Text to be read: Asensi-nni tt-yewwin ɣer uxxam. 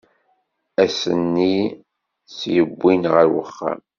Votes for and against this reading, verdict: 1, 2, rejected